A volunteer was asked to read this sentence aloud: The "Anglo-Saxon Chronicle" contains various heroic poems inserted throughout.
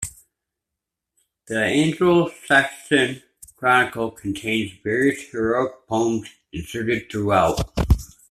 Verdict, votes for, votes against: accepted, 2, 1